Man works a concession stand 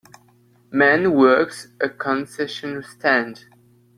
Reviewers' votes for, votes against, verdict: 2, 1, accepted